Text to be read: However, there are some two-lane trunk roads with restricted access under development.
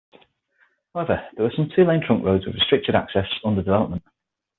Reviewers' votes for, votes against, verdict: 3, 6, rejected